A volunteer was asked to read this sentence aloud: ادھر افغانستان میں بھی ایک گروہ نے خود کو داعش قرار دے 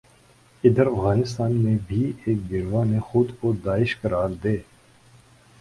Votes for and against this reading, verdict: 1, 2, rejected